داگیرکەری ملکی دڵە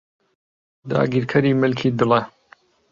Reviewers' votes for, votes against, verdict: 1, 2, rejected